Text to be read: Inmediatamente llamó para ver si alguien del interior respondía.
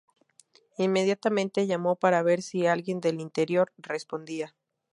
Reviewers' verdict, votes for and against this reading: accepted, 2, 0